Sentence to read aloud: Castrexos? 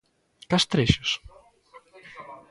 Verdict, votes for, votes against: rejected, 1, 2